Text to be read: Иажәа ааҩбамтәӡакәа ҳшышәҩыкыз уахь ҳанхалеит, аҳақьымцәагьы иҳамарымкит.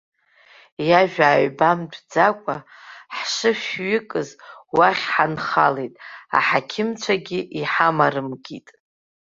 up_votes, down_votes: 2, 0